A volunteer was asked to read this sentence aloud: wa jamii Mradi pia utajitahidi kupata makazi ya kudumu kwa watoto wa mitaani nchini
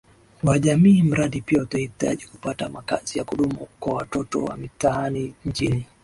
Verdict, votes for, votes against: rejected, 1, 2